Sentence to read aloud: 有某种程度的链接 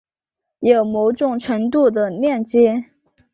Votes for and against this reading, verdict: 3, 0, accepted